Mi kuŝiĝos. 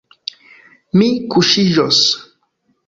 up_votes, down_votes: 1, 2